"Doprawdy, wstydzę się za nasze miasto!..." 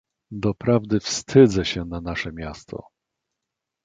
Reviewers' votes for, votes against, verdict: 0, 2, rejected